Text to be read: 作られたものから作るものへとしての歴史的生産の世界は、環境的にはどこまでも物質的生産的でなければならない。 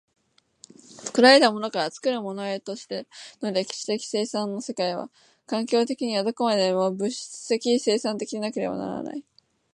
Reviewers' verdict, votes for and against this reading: rejected, 1, 2